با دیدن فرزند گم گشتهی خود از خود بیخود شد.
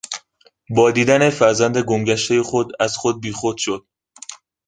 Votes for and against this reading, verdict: 2, 0, accepted